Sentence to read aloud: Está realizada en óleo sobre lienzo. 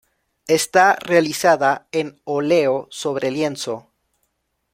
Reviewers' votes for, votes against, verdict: 2, 0, accepted